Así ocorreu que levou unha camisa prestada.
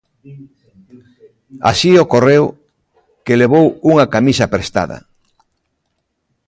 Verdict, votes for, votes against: accepted, 2, 0